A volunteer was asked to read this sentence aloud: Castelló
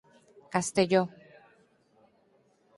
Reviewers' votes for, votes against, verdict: 4, 0, accepted